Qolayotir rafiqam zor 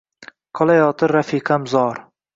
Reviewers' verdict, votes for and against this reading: accepted, 2, 0